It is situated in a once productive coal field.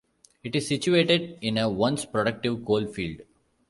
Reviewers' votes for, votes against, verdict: 2, 0, accepted